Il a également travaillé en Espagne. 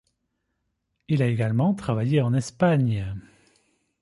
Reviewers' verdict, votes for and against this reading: accepted, 2, 0